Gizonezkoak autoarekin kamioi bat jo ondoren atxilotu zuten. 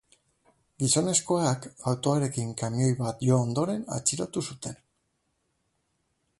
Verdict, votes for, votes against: accepted, 9, 0